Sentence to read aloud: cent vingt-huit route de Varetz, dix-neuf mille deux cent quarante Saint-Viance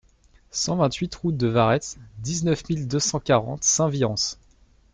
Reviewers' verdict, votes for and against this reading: accepted, 2, 0